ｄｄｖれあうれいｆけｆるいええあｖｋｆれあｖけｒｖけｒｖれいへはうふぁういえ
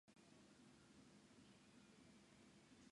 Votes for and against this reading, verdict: 0, 3, rejected